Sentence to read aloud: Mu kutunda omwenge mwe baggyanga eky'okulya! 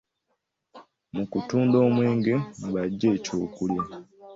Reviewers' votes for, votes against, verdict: 1, 2, rejected